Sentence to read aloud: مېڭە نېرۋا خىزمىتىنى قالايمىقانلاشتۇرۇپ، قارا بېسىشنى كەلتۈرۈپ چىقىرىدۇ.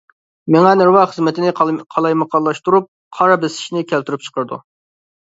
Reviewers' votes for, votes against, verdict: 1, 2, rejected